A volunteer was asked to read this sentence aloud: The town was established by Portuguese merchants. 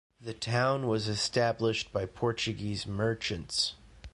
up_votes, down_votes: 1, 2